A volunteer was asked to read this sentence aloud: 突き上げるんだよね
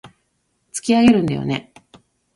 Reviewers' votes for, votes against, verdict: 1, 2, rejected